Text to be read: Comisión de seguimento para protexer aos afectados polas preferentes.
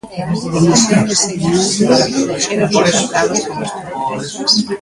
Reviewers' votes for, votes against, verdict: 0, 2, rejected